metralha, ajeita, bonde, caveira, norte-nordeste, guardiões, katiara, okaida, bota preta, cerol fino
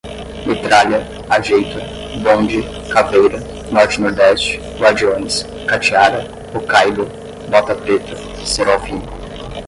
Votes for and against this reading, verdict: 10, 0, accepted